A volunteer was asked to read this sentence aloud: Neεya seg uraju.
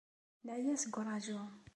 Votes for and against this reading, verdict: 2, 0, accepted